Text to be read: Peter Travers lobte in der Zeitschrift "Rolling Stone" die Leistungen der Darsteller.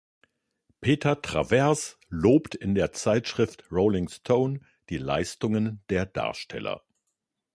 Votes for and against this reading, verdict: 2, 1, accepted